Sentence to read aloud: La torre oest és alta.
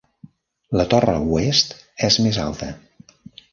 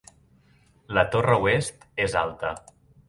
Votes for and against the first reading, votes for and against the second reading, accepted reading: 0, 2, 4, 0, second